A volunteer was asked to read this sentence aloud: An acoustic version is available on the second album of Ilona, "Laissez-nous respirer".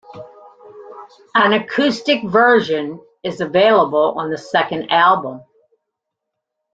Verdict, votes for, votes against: rejected, 0, 2